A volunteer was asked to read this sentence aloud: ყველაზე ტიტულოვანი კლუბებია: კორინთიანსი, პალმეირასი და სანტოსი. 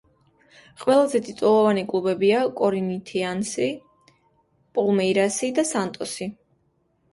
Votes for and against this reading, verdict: 1, 2, rejected